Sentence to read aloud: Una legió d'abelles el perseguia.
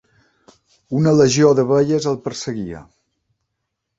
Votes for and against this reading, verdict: 2, 0, accepted